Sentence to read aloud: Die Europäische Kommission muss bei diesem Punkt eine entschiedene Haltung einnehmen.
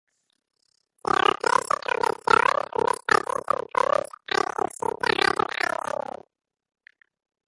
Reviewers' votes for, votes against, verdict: 0, 2, rejected